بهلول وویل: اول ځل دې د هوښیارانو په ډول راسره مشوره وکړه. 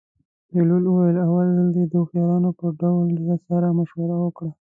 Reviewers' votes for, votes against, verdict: 1, 2, rejected